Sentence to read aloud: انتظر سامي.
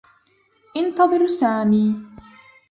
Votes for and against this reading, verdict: 2, 3, rejected